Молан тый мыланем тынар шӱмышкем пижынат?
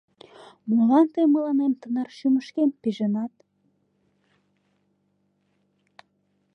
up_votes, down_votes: 2, 0